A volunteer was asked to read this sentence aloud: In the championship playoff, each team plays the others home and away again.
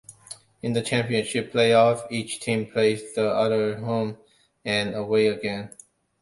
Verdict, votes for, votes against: accepted, 2, 1